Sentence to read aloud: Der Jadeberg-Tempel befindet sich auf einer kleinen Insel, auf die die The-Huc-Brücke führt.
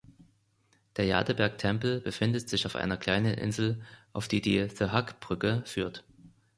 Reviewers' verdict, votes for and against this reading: rejected, 0, 2